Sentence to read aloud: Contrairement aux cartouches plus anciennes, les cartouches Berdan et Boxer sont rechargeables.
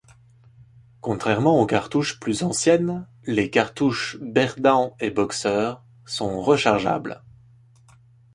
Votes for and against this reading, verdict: 2, 0, accepted